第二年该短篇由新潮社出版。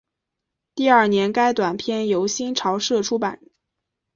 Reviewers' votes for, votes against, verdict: 0, 2, rejected